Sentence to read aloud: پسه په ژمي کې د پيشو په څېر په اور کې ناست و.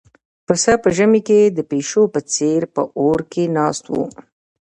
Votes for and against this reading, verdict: 1, 2, rejected